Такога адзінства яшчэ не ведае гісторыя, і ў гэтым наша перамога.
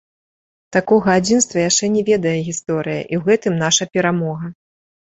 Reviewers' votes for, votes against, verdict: 2, 0, accepted